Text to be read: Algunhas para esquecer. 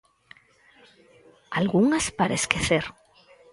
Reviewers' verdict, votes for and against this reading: accepted, 4, 0